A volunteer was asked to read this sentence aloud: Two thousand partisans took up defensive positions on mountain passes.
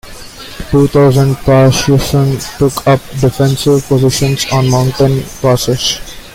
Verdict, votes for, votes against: rejected, 0, 2